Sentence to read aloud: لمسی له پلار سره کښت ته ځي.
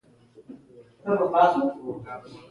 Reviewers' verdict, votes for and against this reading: rejected, 1, 2